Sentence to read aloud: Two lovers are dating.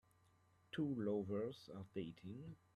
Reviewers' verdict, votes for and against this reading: rejected, 1, 2